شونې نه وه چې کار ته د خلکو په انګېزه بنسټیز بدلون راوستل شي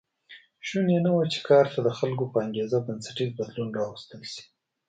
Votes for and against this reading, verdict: 2, 0, accepted